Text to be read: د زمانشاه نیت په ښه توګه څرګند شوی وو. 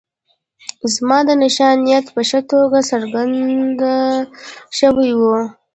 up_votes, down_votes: 0, 2